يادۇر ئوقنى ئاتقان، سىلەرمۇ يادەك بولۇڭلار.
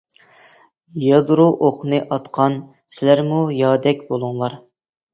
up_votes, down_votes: 0, 2